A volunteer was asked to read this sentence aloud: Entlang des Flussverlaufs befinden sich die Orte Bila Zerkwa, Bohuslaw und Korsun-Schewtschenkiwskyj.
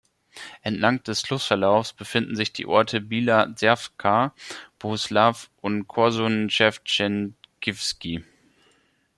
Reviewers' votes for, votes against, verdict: 1, 2, rejected